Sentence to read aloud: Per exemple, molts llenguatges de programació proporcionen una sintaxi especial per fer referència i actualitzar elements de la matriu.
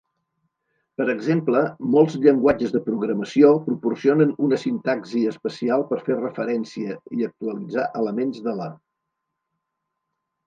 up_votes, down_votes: 0, 2